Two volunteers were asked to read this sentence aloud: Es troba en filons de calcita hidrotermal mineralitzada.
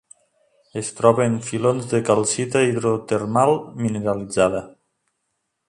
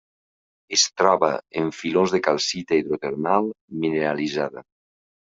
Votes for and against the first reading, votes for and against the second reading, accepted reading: 3, 1, 1, 2, first